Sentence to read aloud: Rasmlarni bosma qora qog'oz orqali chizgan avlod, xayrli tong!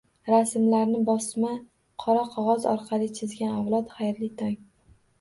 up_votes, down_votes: 2, 0